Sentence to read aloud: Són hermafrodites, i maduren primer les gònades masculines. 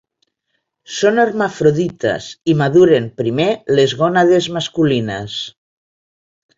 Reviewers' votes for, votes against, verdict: 2, 0, accepted